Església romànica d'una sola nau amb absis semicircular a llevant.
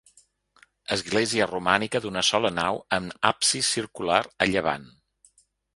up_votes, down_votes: 2, 3